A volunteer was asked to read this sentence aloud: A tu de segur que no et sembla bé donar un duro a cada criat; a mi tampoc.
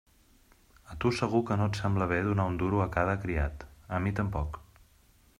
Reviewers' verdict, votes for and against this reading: accepted, 2, 0